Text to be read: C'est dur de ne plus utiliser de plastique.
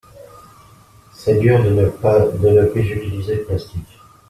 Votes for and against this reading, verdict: 0, 2, rejected